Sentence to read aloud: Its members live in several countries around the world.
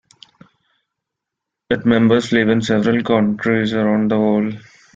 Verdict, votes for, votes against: rejected, 1, 2